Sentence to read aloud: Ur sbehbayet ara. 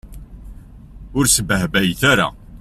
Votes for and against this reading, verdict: 2, 0, accepted